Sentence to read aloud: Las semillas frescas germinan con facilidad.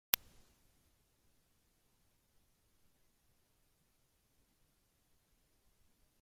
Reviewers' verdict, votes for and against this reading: rejected, 0, 2